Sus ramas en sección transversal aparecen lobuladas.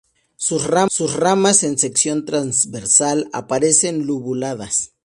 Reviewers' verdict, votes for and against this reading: rejected, 0, 2